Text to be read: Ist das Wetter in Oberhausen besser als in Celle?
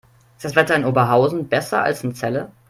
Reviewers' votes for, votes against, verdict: 2, 0, accepted